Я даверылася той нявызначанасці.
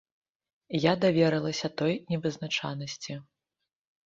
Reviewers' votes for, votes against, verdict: 1, 2, rejected